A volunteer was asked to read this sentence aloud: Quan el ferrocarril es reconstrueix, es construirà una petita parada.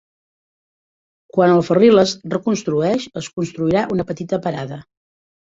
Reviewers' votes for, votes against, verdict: 0, 2, rejected